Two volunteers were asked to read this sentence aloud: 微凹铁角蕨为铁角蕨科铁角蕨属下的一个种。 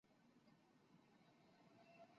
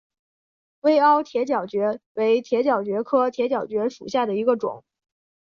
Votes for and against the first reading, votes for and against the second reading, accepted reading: 1, 3, 4, 0, second